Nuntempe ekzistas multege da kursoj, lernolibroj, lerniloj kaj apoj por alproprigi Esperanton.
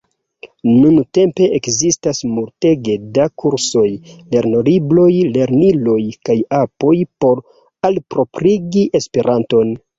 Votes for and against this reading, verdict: 2, 0, accepted